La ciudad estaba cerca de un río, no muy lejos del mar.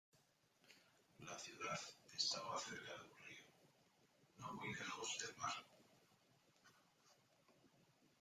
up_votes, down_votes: 1, 2